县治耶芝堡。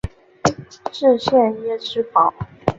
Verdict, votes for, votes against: accepted, 3, 0